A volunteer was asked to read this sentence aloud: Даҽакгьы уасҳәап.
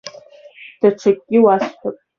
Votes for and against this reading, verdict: 0, 2, rejected